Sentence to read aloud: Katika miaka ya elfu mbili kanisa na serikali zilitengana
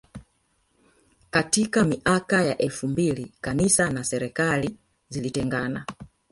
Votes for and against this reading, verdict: 1, 2, rejected